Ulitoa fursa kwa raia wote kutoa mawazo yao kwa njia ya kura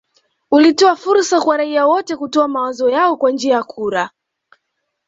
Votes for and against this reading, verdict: 2, 0, accepted